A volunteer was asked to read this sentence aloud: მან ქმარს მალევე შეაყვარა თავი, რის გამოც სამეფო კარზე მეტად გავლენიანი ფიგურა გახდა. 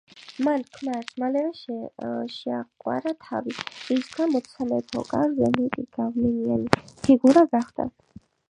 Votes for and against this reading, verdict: 3, 0, accepted